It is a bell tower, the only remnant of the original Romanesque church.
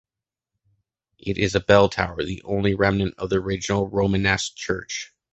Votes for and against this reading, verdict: 2, 0, accepted